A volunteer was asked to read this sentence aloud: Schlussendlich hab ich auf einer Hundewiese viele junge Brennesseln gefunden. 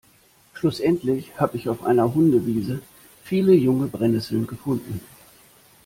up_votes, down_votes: 1, 2